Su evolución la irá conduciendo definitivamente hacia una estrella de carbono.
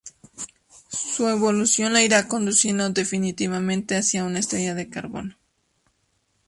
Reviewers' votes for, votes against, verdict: 2, 0, accepted